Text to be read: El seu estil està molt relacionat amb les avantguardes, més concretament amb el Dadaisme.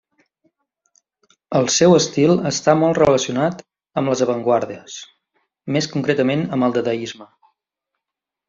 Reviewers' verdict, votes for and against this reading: accepted, 2, 0